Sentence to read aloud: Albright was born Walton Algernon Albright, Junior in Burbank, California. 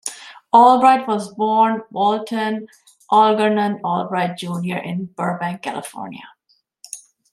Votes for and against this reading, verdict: 2, 1, accepted